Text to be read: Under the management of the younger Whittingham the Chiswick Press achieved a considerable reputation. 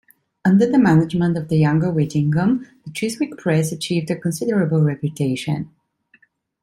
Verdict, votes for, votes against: rejected, 1, 2